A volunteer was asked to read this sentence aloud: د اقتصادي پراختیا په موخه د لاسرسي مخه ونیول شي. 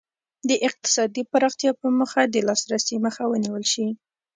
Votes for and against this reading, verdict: 2, 0, accepted